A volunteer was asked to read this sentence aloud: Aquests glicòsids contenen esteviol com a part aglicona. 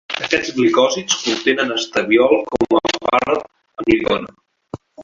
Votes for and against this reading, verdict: 1, 2, rejected